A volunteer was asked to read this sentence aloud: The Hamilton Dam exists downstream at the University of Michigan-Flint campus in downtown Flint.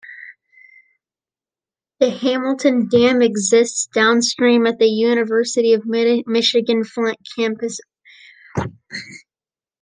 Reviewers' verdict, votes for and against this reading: rejected, 0, 2